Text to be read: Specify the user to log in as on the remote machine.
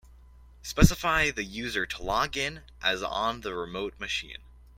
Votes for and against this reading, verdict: 2, 0, accepted